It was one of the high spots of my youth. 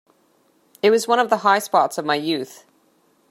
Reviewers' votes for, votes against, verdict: 2, 0, accepted